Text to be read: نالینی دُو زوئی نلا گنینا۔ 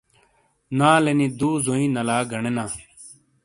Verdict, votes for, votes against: accepted, 2, 0